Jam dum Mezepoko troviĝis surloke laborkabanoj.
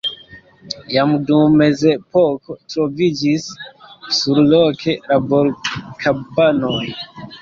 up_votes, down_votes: 1, 2